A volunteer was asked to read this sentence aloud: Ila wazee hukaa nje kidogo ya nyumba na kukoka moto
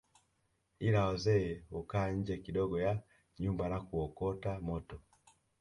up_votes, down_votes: 1, 2